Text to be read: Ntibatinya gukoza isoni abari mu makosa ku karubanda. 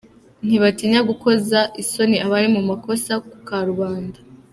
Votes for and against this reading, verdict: 2, 0, accepted